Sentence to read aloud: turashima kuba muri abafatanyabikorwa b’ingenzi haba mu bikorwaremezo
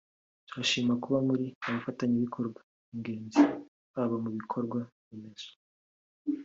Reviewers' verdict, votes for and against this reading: accepted, 2, 0